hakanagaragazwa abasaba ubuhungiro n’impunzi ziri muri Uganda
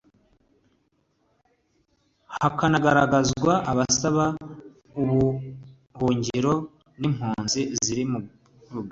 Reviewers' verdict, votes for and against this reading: accepted, 2, 1